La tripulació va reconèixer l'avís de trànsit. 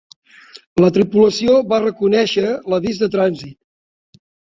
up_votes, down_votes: 4, 1